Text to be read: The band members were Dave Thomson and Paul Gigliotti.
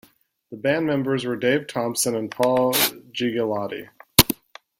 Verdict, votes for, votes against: rejected, 0, 2